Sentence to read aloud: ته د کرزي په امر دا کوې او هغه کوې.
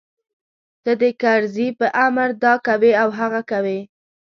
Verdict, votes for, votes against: accepted, 3, 0